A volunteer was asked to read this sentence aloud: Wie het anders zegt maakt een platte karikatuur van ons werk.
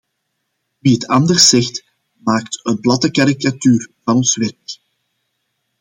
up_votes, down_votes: 2, 1